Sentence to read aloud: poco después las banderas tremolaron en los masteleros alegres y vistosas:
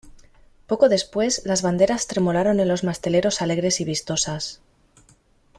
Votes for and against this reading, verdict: 2, 0, accepted